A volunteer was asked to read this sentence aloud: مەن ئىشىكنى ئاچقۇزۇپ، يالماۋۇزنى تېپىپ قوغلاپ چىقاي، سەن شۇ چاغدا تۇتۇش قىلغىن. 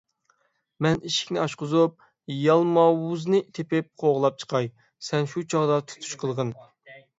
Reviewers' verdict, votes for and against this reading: accepted, 6, 0